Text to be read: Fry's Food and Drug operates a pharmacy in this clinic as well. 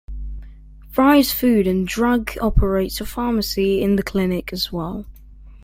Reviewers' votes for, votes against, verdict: 1, 2, rejected